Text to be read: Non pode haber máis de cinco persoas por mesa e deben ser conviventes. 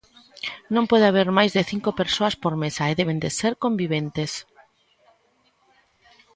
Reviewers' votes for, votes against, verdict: 1, 2, rejected